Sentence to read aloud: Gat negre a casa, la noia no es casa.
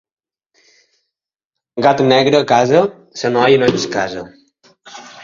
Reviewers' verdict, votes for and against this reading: rejected, 1, 2